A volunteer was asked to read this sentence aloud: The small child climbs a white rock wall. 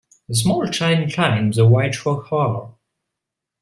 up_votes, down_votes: 2, 0